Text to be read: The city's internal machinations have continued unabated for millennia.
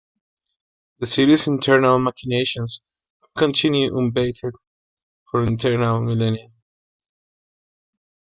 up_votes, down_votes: 0, 2